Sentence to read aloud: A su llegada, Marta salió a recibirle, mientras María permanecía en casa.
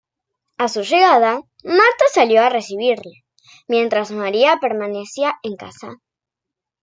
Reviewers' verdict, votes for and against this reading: accepted, 2, 0